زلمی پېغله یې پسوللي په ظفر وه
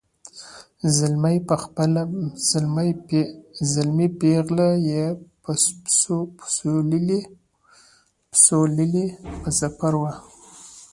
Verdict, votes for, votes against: rejected, 1, 2